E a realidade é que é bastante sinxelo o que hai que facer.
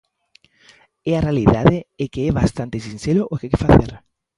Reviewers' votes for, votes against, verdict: 0, 2, rejected